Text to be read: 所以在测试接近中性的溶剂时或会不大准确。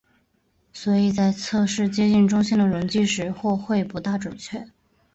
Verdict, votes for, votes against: accepted, 5, 2